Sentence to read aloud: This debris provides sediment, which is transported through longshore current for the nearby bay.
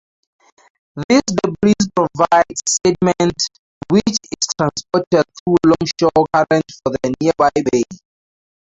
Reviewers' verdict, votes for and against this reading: rejected, 2, 2